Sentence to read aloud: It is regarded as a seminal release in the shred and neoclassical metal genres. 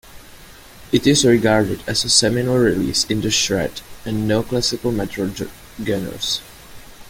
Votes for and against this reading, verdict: 0, 2, rejected